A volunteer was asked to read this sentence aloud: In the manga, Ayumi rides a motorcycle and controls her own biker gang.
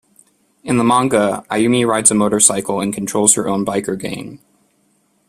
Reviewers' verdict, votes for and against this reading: accepted, 2, 0